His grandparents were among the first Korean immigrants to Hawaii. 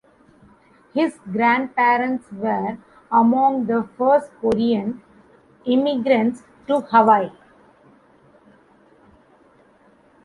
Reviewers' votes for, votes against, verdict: 2, 0, accepted